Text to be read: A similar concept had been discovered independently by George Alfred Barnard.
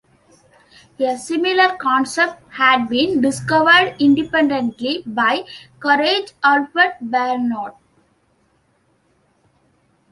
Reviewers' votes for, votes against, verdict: 0, 2, rejected